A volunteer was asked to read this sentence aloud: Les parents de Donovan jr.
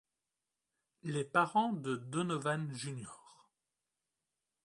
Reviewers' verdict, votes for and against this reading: accepted, 2, 0